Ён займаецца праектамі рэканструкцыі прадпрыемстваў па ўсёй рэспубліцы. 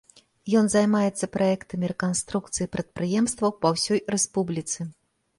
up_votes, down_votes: 2, 0